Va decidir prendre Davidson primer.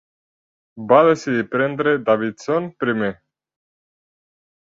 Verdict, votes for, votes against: accepted, 3, 0